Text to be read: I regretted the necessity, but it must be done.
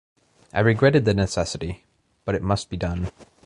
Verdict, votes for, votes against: accepted, 2, 0